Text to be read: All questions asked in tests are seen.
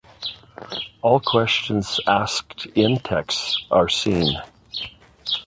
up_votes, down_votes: 0, 2